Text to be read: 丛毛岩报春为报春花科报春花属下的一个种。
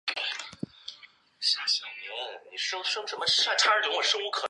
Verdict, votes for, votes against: rejected, 1, 2